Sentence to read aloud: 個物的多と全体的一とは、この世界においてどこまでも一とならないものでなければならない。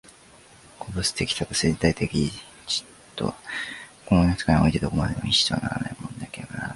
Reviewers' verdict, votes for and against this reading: rejected, 0, 2